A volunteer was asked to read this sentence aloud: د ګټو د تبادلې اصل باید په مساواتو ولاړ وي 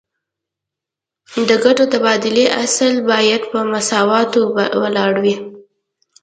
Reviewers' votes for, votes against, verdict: 2, 0, accepted